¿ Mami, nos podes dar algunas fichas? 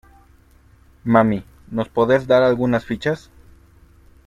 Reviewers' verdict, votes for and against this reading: accepted, 2, 0